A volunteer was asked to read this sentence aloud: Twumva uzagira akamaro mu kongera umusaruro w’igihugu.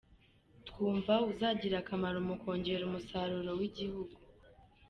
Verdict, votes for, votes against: accepted, 2, 0